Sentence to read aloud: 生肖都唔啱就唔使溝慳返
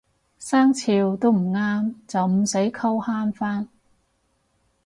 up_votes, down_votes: 4, 0